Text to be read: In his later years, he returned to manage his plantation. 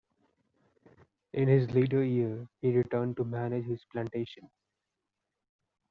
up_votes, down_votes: 2, 0